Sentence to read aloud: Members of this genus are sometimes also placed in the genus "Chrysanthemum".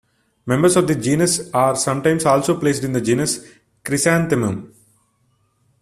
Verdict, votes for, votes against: accepted, 2, 1